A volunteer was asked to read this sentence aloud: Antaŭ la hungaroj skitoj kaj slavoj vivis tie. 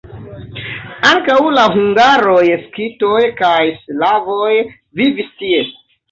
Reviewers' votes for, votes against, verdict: 1, 2, rejected